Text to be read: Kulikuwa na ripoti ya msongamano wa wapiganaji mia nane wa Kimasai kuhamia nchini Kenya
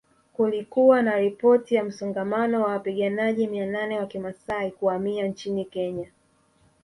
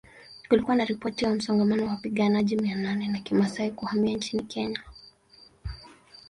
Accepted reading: first